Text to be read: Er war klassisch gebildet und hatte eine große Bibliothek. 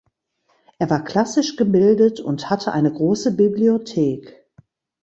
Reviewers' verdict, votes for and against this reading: accepted, 2, 0